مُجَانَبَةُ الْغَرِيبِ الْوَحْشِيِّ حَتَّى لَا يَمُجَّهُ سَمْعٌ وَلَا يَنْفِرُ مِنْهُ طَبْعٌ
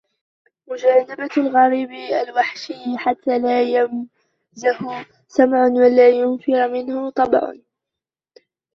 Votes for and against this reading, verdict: 0, 2, rejected